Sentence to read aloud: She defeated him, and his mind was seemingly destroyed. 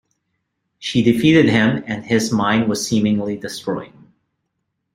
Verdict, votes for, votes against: accepted, 2, 0